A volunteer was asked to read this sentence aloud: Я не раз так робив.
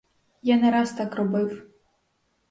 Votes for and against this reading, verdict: 4, 0, accepted